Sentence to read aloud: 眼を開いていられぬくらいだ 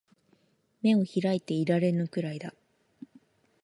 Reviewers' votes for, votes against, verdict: 2, 0, accepted